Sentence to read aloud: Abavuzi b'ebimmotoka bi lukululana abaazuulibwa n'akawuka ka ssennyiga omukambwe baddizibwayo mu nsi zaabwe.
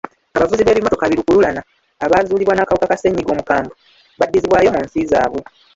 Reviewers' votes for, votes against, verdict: 1, 2, rejected